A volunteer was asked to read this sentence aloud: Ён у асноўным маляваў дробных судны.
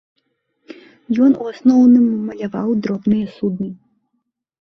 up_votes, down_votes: 2, 1